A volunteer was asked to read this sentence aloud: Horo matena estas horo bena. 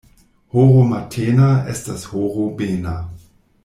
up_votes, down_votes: 2, 0